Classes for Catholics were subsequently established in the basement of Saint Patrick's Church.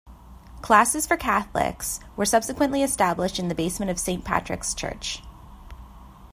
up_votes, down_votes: 2, 0